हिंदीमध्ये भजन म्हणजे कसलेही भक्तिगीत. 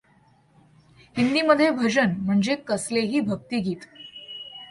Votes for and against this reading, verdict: 2, 0, accepted